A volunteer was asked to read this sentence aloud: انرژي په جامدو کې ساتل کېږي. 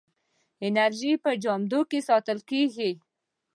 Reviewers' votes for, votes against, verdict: 0, 2, rejected